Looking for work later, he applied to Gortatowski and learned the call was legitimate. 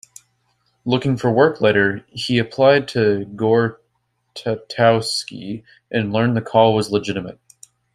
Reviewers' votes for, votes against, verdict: 1, 2, rejected